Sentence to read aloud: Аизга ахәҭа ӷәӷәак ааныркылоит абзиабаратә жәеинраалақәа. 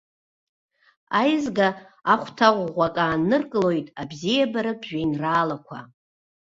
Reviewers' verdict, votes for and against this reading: accepted, 2, 0